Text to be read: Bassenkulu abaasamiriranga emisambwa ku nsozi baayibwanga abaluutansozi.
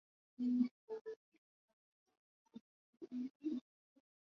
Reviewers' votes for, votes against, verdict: 0, 2, rejected